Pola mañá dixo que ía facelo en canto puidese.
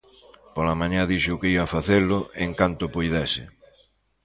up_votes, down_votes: 2, 0